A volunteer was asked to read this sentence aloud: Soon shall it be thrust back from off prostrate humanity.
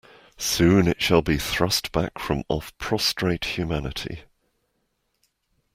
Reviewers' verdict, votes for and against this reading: rejected, 1, 2